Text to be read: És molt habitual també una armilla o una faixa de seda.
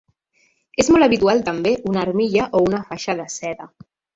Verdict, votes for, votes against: rejected, 1, 2